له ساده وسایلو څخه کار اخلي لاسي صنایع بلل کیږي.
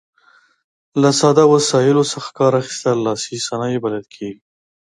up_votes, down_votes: 0, 2